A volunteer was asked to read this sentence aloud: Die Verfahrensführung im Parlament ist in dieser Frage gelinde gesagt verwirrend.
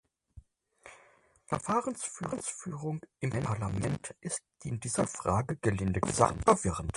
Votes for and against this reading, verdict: 0, 6, rejected